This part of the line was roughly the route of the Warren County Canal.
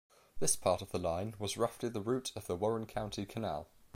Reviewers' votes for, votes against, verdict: 2, 0, accepted